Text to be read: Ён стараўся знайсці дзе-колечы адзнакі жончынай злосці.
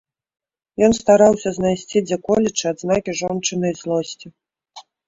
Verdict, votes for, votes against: accepted, 2, 0